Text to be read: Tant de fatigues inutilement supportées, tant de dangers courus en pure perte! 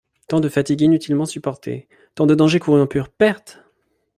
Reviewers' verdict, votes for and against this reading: accepted, 2, 0